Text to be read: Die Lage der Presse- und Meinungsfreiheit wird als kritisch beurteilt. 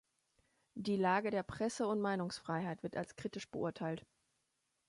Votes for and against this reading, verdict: 2, 0, accepted